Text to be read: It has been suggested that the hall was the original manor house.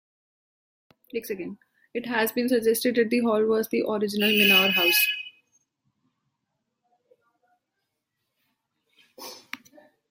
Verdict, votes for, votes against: rejected, 0, 2